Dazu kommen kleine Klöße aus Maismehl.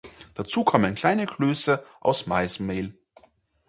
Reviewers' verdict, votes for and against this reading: accepted, 4, 0